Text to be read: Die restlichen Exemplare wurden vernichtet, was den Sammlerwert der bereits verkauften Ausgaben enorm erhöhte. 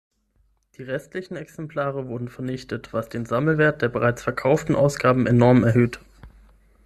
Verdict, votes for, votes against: accepted, 6, 0